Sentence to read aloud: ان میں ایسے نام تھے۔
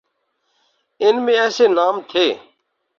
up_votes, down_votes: 4, 0